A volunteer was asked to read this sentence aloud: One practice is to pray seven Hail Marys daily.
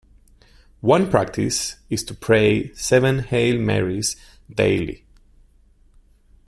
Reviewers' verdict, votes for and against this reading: accepted, 2, 0